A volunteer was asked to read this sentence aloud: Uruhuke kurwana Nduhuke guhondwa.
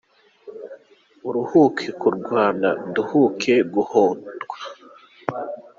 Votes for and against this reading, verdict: 0, 2, rejected